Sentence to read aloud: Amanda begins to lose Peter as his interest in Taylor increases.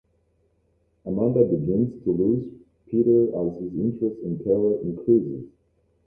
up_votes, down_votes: 0, 2